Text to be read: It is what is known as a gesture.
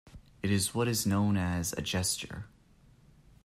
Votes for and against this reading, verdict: 2, 0, accepted